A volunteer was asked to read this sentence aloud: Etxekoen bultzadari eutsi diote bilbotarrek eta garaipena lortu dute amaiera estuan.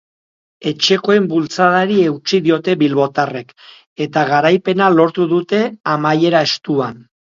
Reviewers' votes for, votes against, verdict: 2, 0, accepted